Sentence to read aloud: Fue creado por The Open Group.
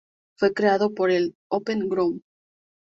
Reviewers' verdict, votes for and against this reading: rejected, 2, 2